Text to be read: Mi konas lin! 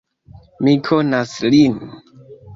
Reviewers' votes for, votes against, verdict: 2, 0, accepted